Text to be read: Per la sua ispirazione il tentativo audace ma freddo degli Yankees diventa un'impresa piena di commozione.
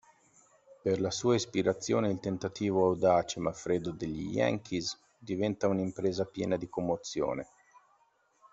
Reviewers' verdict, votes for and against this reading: accepted, 2, 1